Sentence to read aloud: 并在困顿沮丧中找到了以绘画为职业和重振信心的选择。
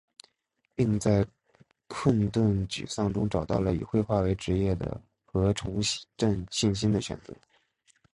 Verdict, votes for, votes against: rejected, 0, 2